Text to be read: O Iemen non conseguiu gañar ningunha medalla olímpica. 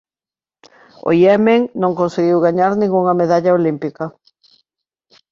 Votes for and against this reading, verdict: 2, 0, accepted